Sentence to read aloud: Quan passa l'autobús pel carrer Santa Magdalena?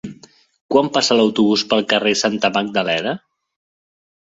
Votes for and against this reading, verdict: 2, 1, accepted